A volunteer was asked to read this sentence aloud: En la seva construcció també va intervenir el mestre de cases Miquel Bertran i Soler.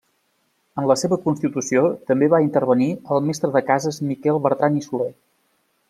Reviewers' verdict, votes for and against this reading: rejected, 1, 2